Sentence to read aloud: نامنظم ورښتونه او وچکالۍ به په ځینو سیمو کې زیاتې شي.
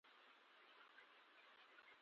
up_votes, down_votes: 1, 2